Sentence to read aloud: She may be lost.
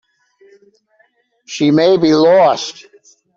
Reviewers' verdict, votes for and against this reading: accepted, 2, 0